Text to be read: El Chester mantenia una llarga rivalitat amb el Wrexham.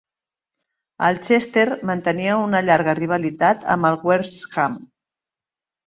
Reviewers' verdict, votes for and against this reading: accepted, 2, 1